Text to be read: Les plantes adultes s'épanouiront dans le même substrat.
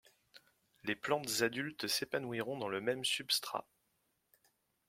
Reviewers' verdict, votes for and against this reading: rejected, 1, 2